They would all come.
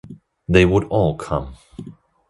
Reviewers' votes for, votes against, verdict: 2, 0, accepted